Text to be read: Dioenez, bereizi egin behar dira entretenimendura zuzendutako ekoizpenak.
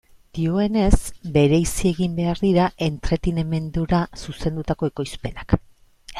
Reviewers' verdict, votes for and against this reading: rejected, 0, 2